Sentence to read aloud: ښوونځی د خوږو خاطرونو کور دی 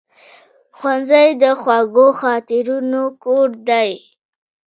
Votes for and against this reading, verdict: 0, 2, rejected